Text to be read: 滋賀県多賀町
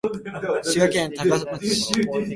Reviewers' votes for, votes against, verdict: 0, 2, rejected